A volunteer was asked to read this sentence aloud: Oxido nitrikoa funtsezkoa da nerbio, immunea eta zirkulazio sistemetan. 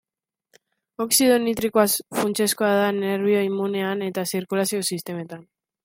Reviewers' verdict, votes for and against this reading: rejected, 0, 2